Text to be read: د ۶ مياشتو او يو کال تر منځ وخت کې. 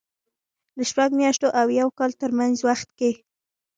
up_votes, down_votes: 0, 2